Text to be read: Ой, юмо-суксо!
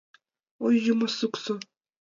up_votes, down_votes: 2, 0